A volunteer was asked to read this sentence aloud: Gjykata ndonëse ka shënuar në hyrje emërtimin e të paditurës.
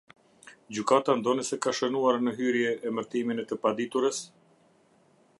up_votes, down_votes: 2, 0